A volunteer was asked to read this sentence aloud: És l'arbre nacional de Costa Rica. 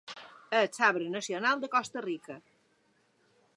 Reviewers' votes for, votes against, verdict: 2, 0, accepted